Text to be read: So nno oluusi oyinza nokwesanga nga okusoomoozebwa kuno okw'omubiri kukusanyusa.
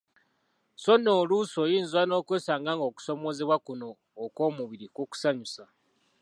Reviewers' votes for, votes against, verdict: 2, 0, accepted